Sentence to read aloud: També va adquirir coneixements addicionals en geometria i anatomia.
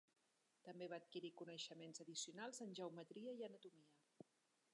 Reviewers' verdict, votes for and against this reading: rejected, 0, 2